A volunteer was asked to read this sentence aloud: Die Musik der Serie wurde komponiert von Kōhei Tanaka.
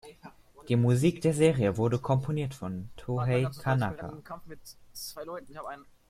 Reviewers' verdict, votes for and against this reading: rejected, 1, 2